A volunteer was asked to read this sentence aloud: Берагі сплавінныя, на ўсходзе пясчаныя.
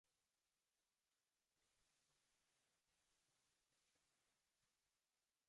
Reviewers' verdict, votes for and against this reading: rejected, 0, 3